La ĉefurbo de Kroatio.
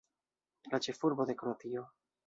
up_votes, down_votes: 1, 2